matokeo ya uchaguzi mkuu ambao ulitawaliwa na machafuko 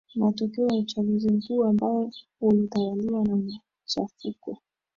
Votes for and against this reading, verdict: 0, 2, rejected